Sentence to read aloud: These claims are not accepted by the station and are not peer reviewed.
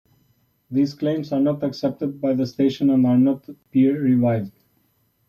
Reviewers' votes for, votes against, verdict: 3, 0, accepted